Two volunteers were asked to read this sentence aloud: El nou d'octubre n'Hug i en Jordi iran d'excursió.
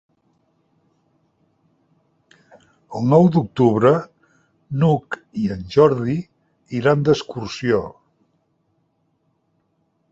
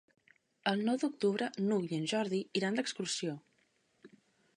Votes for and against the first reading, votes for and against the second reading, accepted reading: 3, 0, 1, 2, first